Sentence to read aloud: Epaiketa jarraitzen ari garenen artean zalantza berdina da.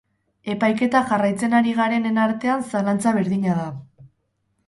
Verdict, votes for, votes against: accepted, 4, 0